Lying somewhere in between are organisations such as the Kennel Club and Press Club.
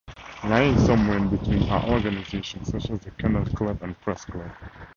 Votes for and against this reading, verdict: 2, 0, accepted